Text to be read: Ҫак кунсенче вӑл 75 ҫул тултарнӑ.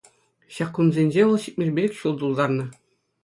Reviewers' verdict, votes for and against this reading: rejected, 0, 2